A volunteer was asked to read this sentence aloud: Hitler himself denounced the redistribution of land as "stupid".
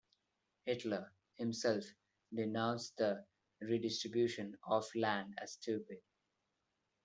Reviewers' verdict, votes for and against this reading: accepted, 2, 0